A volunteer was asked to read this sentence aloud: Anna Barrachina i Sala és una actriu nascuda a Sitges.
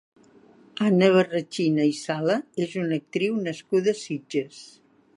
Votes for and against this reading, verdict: 2, 0, accepted